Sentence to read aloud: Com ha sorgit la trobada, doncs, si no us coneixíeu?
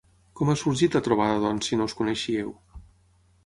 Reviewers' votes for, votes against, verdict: 6, 0, accepted